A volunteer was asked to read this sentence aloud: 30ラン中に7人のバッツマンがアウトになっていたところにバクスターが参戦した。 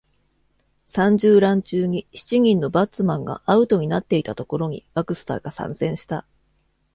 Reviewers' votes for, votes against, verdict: 0, 2, rejected